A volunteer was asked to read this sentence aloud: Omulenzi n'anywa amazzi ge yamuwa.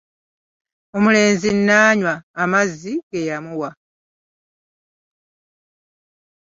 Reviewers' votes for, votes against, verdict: 2, 0, accepted